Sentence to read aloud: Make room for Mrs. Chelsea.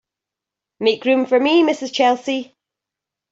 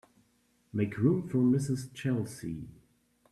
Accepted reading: second